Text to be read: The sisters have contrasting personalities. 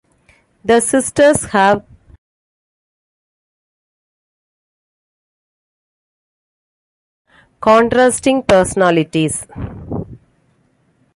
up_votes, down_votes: 1, 2